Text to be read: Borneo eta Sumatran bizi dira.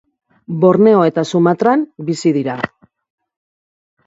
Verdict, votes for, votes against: rejected, 1, 2